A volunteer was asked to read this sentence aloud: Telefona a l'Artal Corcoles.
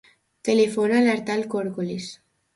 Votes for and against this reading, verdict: 2, 0, accepted